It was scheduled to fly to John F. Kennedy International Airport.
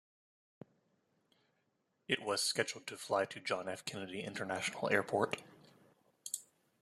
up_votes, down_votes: 2, 0